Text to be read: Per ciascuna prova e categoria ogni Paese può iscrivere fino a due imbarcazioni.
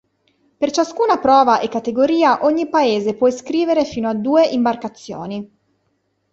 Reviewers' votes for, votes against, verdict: 2, 0, accepted